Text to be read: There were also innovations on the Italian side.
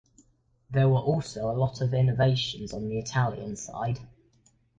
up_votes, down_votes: 0, 2